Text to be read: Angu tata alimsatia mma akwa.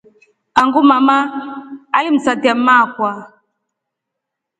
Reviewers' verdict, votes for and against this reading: rejected, 1, 2